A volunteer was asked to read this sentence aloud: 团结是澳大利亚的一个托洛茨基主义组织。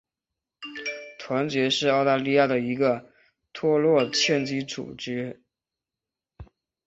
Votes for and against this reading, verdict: 0, 2, rejected